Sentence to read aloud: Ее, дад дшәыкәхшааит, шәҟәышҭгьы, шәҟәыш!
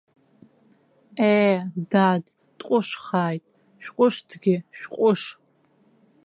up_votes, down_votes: 0, 2